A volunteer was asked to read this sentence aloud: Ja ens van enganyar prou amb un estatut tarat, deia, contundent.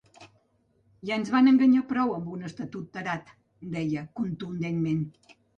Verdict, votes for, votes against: rejected, 1, 2